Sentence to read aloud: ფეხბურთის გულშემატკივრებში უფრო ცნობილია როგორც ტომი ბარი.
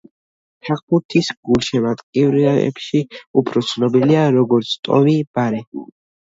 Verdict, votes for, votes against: rejected, 2, 3